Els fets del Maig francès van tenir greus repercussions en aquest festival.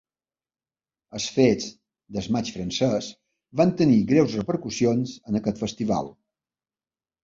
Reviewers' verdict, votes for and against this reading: rejected, 1, 2